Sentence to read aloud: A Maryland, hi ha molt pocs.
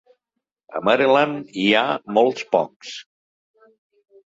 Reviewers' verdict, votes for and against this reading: rejected, 0, 2